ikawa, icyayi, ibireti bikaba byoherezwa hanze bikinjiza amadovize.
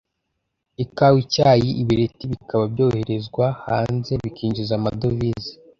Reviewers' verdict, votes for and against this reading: accepted, 2, 0